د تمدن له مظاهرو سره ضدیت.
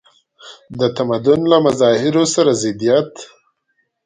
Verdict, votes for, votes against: accepted, 2, 0